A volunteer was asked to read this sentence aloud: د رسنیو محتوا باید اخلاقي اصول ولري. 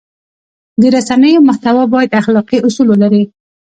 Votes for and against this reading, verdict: 1, 2, rejected